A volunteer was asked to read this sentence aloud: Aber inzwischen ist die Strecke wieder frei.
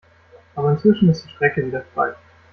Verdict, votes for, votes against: rejected, 0, 2